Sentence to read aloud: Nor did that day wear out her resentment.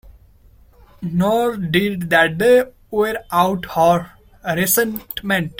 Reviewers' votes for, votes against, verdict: 0, 2, rejected